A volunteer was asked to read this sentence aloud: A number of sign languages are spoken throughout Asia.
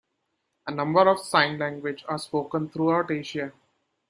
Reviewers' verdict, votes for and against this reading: rejected, 0, 2